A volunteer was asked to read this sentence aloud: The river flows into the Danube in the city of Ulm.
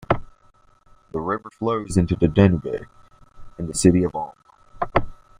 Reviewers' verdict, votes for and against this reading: rejected, 1, 2